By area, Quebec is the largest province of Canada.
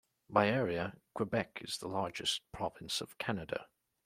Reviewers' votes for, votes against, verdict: 2, 0, accepted